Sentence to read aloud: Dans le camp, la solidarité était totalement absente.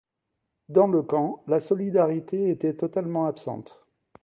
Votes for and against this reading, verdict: 2, 0, accepted